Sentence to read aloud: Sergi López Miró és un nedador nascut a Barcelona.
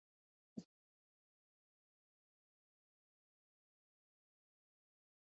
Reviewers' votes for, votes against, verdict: 1, 3, rejected